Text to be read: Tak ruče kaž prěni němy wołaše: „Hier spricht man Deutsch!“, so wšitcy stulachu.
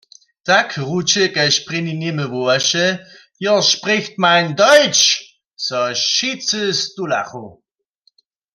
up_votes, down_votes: 1, 2